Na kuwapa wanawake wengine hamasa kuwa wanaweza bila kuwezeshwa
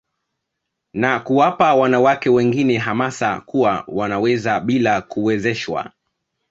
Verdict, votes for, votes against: accepted, 2, 1